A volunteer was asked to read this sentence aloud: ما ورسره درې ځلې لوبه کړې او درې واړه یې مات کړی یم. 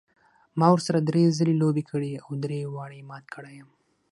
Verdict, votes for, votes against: accepted, 6, 0